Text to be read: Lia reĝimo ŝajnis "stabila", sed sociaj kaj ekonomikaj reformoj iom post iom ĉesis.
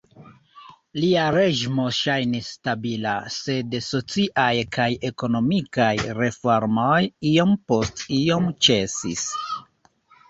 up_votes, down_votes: 1, 2